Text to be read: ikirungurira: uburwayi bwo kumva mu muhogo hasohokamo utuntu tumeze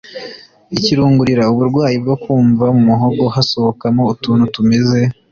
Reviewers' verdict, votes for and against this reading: accepted, 2, 0